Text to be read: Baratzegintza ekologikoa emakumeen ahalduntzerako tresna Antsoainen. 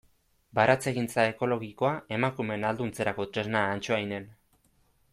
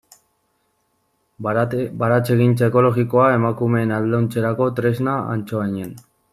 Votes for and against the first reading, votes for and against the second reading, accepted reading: 2, 0, 0, 2, first